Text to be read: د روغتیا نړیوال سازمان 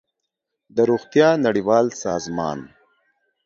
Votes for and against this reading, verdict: 2, 0, accepted